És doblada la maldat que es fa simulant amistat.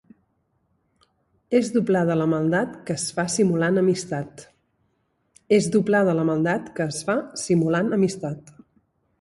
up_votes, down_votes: 0, 2